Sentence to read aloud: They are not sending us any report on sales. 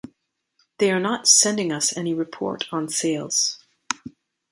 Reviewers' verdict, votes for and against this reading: accepted, 2, 0